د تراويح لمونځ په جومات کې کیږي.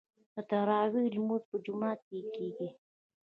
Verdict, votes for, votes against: accepted, 2, 0